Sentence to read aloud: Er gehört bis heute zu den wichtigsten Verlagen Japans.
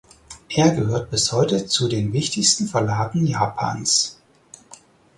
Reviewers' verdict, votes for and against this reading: accepted, 6, 0